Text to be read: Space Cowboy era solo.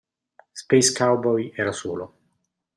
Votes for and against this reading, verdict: 2, 0, accepted